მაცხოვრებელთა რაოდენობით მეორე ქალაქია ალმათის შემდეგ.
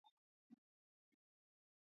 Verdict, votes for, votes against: rejected, 0, 3